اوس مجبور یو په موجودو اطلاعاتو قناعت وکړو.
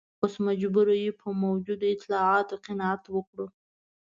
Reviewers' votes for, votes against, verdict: 2, 0, accepted